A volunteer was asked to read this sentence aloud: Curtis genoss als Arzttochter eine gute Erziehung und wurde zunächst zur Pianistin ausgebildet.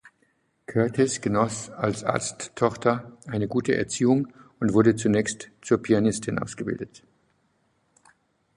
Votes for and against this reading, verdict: 2, 0, accepted